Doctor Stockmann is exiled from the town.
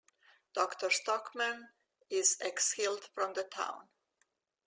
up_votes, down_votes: 2, 0